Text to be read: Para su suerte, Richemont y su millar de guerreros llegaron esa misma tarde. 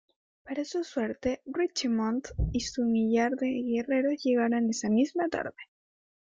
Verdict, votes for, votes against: rejected, 1, 2